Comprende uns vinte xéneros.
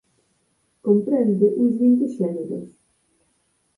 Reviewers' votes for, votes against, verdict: 0, 4, rejected